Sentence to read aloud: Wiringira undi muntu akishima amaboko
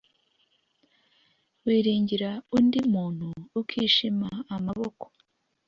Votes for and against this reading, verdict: 0, 2, rejected